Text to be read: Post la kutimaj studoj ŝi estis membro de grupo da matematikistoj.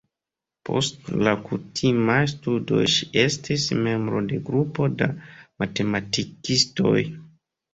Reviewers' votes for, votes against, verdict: 1, 2, rejected